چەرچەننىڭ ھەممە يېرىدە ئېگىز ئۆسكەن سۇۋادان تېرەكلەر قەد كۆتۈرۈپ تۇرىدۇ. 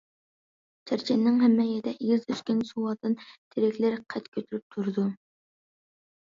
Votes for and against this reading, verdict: 1, 2, rejected